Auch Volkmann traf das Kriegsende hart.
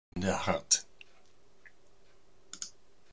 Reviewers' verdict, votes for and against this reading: rejected, 0, 2